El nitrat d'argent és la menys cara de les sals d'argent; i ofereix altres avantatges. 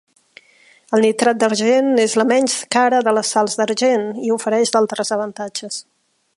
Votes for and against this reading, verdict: 1, 2, rejected